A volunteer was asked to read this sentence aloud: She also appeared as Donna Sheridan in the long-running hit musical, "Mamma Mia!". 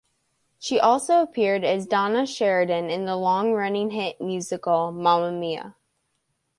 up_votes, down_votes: 2, 0